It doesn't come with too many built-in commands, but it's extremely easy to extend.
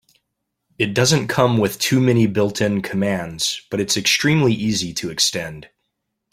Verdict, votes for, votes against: accepted, 2, 0